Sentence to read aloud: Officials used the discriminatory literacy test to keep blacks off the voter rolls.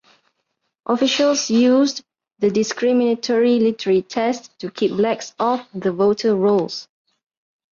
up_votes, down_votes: 0, 2